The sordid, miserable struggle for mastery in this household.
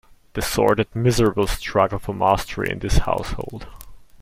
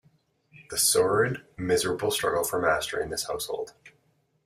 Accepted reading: first